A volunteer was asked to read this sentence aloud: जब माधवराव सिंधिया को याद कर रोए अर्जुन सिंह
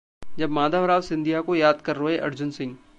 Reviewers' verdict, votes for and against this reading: accepted, 2, 0